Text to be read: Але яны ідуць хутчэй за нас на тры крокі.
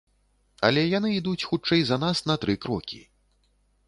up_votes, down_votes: 2, 0